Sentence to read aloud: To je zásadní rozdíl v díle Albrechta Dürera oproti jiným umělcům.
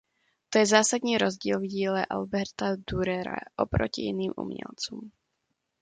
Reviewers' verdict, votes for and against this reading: rejected, 0, 2